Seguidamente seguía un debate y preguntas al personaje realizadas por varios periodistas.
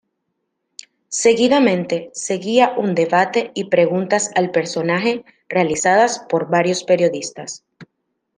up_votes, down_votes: 2, 0